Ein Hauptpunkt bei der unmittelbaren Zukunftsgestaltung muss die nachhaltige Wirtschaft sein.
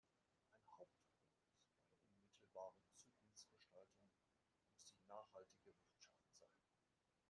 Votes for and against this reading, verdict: 0, 2, rejected